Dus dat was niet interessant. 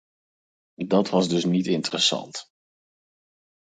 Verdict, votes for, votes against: rejected, 2, 4